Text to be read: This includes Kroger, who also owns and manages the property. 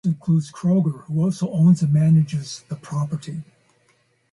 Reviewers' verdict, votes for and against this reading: rejected, 0, 4